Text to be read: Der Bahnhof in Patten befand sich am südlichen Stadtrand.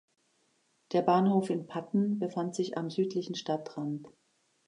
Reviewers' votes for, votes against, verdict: 2, 0, accepted